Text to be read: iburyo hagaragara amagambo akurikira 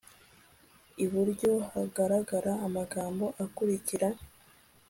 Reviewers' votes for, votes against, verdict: 2, 0, accepted